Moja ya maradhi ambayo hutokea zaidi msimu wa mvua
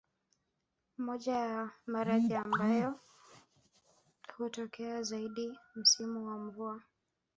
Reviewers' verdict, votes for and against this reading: rejected, 0, 2